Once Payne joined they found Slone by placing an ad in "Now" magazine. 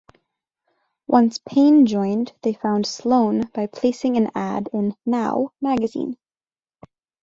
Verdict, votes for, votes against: accepted, 2, 0